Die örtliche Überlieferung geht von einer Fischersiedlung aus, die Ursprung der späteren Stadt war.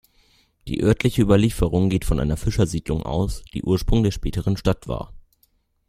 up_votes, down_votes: 2, 0